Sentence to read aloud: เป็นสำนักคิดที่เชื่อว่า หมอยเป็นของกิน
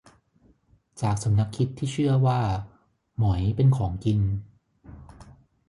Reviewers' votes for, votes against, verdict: 0, 3, rejected